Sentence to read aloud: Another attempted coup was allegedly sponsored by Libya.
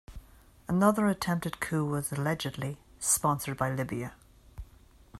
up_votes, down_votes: 2, 1